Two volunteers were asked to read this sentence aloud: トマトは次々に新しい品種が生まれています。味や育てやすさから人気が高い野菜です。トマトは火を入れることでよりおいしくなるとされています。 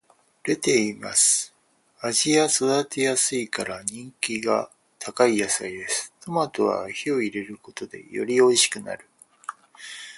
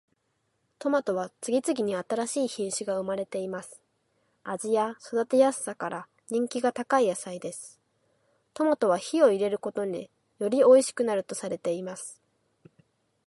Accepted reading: second